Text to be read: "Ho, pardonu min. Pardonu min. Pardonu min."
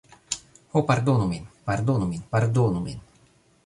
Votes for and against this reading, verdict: 0, 2, rejected